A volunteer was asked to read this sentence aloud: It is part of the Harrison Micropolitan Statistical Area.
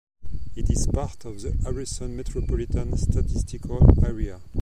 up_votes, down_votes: 0, 2